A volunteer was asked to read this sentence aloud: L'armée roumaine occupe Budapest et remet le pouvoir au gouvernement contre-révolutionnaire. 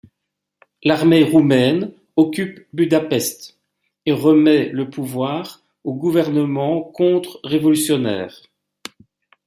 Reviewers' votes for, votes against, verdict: 2, 0, accepted